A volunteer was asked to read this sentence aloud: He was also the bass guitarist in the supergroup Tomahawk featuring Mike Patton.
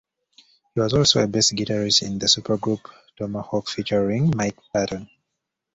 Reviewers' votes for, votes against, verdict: 2, 1, accepted